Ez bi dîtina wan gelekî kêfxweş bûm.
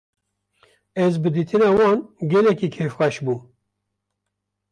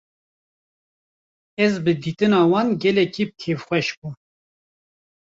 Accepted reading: first